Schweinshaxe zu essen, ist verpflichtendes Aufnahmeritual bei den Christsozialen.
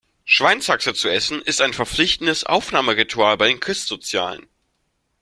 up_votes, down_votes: 0, 2